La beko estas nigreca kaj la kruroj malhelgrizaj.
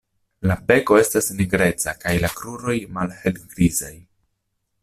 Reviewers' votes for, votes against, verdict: 2, 0, accepted